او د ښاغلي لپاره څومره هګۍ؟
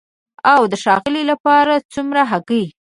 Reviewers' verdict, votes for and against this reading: rejected, 1, 2